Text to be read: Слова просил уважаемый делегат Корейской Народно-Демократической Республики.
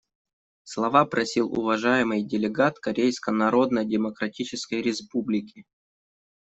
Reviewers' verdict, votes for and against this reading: rejected, 1, 2